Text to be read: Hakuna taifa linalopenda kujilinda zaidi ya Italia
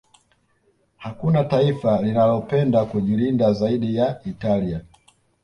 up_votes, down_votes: 2, 0